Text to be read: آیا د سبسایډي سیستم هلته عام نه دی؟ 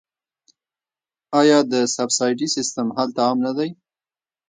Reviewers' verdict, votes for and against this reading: accepted, 2, 0